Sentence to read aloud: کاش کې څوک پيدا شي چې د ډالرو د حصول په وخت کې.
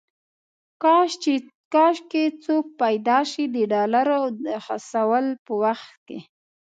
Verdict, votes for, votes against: rejected, 0, 2